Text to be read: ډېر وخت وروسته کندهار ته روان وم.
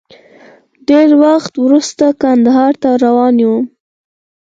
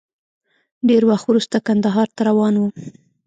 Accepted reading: first